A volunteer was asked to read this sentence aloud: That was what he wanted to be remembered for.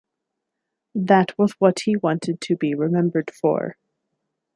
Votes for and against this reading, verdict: 2, 0, accepted